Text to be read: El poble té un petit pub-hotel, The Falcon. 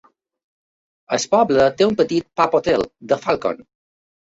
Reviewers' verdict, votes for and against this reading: accepted, 2, 1